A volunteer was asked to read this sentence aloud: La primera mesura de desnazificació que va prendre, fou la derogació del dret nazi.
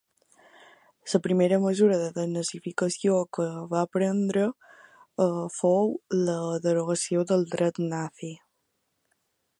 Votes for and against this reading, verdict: 1, 2, rejected